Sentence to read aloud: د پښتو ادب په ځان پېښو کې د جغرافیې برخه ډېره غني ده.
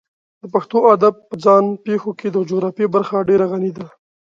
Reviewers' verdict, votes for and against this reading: accepted, 2, 0